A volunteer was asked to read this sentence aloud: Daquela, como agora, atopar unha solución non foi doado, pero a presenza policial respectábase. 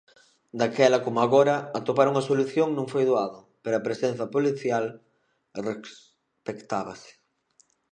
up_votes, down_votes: 0, 2